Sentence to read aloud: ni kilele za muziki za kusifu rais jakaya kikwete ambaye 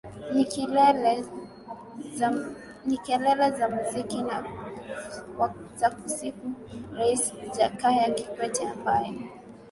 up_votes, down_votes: 1, 2